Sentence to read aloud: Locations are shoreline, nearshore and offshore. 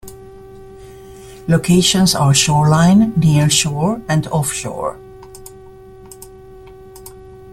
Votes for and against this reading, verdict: 1, 2, rejected